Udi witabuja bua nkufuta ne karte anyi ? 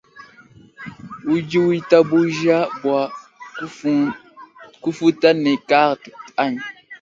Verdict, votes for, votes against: rejected, 1, 2